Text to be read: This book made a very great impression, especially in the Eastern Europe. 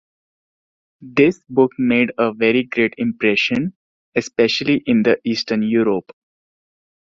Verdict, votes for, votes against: accepted, 2, 0